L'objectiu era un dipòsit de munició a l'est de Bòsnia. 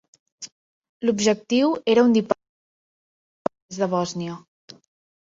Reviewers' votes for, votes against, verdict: 0, 3, rejected